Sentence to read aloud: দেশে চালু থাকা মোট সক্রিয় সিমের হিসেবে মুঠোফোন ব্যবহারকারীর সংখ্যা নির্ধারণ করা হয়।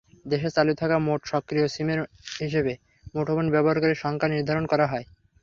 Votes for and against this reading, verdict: 3, 0, accepted